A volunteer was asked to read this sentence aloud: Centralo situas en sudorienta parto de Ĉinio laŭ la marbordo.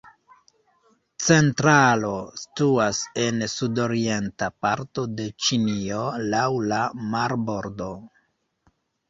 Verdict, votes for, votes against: rejected, 1, 2